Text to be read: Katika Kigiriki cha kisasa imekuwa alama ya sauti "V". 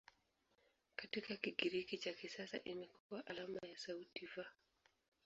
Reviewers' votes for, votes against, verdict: 1, 2, rejected